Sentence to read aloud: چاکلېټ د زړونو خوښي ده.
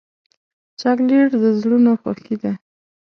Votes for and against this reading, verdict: 2, 0, accepted